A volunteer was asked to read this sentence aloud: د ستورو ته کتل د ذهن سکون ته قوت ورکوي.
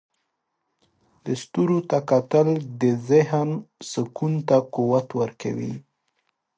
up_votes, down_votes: 2, 0